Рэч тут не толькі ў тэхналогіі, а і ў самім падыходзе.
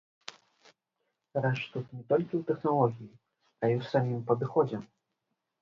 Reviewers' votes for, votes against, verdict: 1, 2, rejected